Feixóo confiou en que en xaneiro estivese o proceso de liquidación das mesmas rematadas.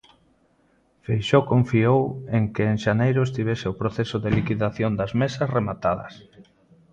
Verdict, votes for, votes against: rejected, 0, 2